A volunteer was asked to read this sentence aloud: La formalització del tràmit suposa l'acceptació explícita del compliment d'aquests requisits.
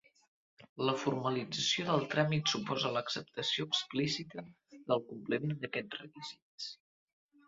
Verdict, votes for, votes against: rejected, 1, 2